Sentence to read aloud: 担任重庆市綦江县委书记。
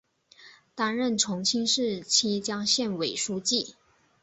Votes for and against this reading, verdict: 2, 0, accepted